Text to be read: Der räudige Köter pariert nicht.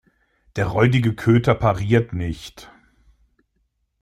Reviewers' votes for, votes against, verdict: 2, 0, accepted